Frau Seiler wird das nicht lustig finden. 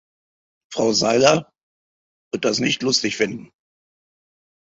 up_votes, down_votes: 2, 0